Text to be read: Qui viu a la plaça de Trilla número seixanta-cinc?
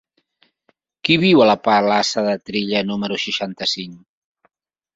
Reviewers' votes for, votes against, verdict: 0, 3, rejected